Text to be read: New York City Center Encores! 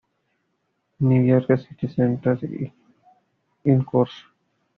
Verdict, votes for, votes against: rejected, 1, 2